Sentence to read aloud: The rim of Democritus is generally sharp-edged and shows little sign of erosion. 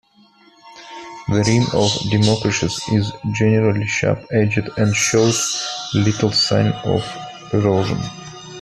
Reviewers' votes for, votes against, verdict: 1, 2, rejected